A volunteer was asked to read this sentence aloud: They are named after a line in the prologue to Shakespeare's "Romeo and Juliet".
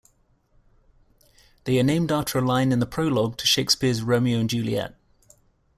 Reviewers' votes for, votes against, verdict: 2, 0, accepted